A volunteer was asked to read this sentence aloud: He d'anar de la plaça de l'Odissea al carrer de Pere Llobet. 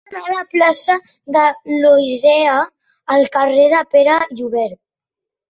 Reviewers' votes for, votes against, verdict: 0, 2, rejected